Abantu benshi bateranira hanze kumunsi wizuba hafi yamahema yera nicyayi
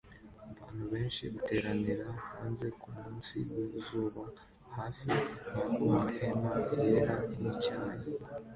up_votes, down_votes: 2, 0